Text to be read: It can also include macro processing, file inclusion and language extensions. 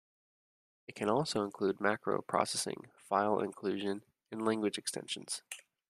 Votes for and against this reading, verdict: 2, 0, accepted